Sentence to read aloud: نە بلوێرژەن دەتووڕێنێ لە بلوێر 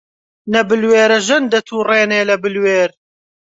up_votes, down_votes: 2, 0